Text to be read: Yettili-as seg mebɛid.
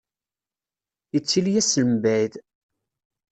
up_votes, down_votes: 2, 0